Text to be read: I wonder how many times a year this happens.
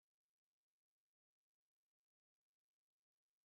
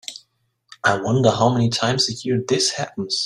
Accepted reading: second